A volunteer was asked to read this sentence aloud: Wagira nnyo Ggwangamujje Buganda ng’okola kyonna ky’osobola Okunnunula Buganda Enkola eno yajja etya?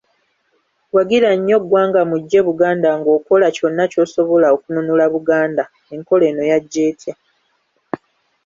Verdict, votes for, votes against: accepted, 2, 0